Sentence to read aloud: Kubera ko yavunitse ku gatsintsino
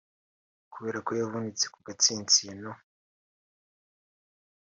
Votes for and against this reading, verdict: 3, 0, accepted